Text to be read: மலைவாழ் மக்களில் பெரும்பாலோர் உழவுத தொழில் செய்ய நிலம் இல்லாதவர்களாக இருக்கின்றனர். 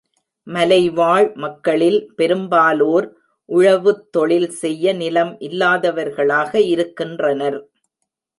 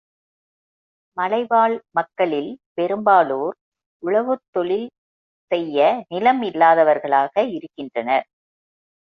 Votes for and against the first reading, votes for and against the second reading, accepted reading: 0, 2, 2, 1, second